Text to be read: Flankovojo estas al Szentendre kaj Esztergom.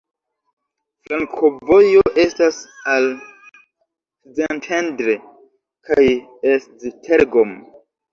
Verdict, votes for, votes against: rejected, 0, 2